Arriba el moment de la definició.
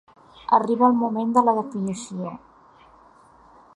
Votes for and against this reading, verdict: 2, 0, accepted